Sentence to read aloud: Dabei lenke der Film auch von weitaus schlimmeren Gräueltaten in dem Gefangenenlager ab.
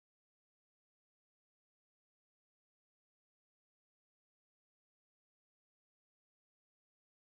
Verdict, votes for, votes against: rejected, 0, 4